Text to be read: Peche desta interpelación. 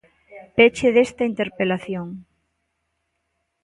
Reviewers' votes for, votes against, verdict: 2, 0, accepted